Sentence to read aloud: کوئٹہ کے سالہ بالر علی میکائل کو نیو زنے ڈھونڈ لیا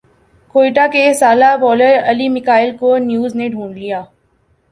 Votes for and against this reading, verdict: 4, 0, accepted